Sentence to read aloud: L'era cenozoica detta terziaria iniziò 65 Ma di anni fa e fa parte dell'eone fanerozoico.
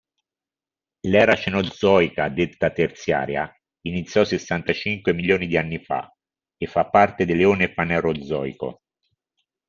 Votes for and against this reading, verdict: 0, 2, rejected